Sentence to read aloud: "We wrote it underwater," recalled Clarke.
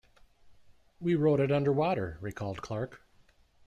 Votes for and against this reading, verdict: 2, 0, accepted